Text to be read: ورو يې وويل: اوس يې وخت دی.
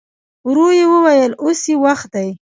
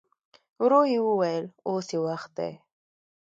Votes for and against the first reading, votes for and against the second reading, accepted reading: 2, 0, 0, 2, first